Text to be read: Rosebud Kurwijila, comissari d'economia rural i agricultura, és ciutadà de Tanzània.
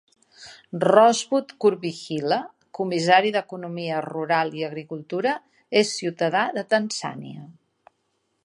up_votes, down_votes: 3, 2